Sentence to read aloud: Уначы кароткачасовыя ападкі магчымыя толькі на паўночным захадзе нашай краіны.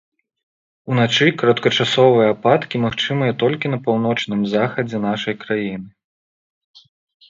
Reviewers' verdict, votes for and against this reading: accepted, 2, 0